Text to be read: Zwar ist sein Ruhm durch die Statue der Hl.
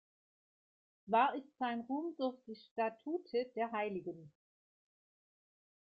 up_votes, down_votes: 1, 2